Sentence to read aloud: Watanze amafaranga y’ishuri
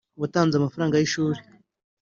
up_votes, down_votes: 2, 1